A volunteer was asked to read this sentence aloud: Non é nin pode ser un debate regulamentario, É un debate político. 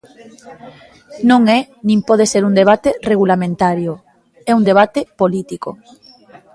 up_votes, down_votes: 2, 0